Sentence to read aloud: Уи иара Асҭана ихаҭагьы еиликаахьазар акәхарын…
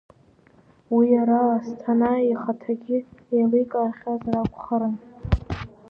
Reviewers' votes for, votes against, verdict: 0, 2, rejected